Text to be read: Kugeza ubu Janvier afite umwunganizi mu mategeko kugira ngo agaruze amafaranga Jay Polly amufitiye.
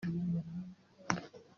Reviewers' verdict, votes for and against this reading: rejected, 0, 2